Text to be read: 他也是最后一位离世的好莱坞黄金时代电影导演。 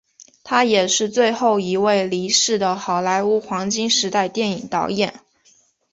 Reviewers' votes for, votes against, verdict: 2, 0, accepted